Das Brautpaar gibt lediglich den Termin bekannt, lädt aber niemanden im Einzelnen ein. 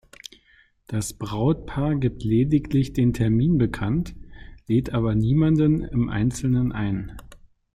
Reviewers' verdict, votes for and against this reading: rejected, 1, 2